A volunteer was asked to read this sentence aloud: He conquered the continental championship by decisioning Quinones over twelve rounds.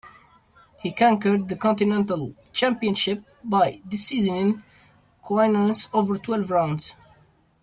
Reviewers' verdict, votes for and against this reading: rejected, 1, 2